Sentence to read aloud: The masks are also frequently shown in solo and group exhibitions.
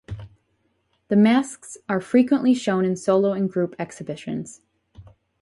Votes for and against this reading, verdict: 2, 2, rejected